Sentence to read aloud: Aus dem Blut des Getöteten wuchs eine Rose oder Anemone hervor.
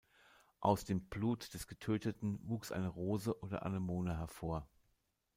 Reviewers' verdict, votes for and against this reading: accepted, 2, 0